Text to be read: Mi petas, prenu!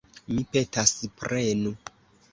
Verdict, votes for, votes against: accepted, 2, 1